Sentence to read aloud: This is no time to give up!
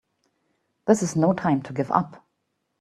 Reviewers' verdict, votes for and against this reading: accepted, 2, 0